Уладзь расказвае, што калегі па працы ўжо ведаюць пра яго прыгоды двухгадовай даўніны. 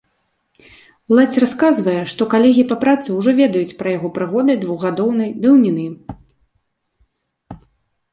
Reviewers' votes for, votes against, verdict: 0, 2, rejected